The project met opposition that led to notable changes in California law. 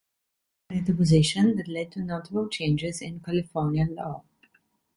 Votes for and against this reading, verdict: 1, 2, rejected